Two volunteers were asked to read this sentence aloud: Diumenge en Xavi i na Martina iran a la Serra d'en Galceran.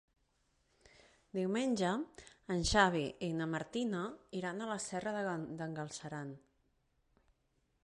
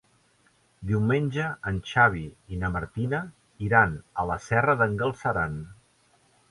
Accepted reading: second